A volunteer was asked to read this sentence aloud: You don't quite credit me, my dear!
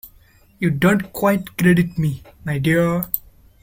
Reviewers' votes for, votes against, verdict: 2, 0, accepted